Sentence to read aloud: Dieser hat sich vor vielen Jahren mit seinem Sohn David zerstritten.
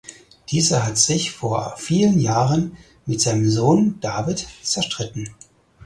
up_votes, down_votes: 4, 0